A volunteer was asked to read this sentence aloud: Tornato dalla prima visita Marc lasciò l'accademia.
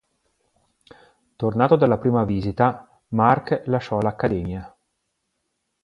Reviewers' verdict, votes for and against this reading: accepted, 2, 0